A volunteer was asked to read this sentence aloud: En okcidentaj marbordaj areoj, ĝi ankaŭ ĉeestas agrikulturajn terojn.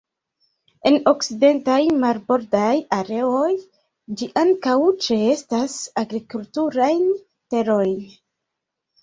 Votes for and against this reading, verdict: 2, 1, accepted